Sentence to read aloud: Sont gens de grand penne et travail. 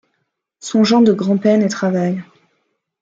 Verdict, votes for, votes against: accepted, 2, 0